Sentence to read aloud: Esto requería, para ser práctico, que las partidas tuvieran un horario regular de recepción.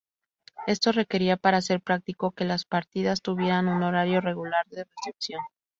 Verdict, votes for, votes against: accepted, 2, 0